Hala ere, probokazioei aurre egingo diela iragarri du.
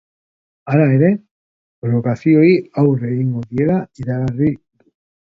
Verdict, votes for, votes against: rejected, 0, 2